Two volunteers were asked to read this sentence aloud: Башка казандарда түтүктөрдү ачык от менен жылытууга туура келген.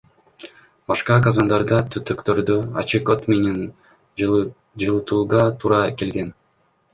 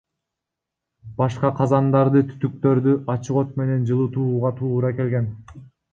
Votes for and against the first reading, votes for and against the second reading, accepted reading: 2, 1, 0, 2, first